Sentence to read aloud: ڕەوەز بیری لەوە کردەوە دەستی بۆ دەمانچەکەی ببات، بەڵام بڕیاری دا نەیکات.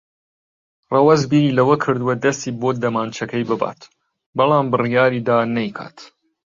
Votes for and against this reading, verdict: 1, 2, rejected